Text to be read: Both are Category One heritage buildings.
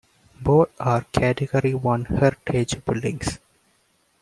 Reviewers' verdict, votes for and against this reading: rejected, 1, 2